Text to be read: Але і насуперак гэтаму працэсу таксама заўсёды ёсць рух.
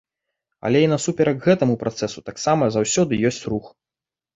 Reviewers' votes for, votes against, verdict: 2, 0, accepted